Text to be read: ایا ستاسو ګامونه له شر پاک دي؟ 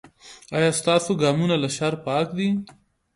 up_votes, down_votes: 1, 2